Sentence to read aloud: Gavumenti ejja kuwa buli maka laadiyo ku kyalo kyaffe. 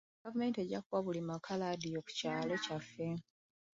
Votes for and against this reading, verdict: 0, 2, rejected